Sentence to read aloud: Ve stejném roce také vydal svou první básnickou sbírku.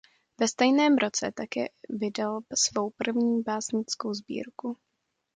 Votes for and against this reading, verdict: 2, 0, accepted